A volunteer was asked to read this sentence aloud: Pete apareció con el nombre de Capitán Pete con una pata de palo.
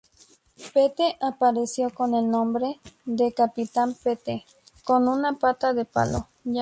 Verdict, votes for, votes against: rejected, 0, 2